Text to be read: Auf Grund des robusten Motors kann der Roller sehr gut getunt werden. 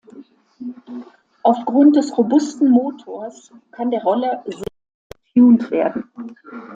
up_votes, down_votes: 0, 2